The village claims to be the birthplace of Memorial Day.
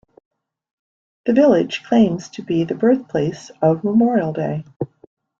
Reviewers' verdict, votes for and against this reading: accepted, 2, 0